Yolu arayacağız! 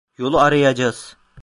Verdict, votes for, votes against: rejected, 1, 2